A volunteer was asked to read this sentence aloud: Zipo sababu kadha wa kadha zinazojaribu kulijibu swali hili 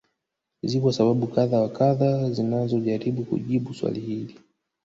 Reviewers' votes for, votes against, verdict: 1, 2, rejected